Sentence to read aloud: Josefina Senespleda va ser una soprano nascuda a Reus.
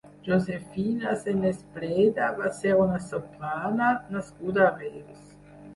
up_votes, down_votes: 0, 6